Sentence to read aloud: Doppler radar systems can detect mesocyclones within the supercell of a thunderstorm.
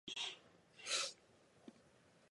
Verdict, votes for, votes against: rejected, 0, 2